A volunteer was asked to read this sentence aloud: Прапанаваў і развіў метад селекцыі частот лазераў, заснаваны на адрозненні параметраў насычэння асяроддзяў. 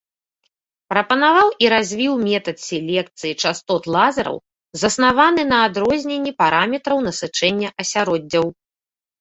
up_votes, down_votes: 2, 0